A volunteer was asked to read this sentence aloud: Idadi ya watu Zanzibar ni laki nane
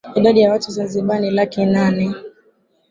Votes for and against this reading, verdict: 3, 1, accepted